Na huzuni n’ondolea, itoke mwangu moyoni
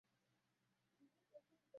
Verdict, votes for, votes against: rejected, 0, 2